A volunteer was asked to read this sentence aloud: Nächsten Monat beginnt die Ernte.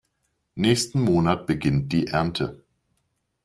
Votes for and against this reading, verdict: 2, 0, accepted